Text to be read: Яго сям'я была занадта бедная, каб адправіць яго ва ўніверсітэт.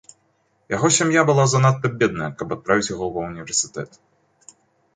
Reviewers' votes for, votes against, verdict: 3, 0, accepted